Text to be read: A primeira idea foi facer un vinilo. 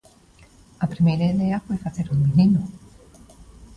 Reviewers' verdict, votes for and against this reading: accepted, 2, 0